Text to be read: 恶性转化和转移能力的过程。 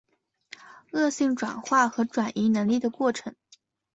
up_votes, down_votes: 6, 0